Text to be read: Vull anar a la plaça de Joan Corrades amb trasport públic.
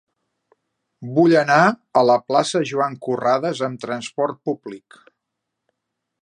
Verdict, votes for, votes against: rejected, 1, 2